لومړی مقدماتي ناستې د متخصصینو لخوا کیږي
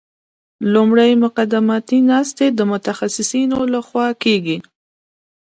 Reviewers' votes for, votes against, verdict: 3, 0, accepted